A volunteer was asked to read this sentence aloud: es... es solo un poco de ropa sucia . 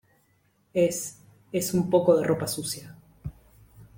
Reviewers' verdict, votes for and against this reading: rejected, 0, 2